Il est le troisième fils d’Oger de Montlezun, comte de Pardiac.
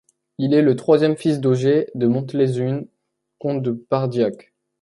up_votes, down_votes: 1, 2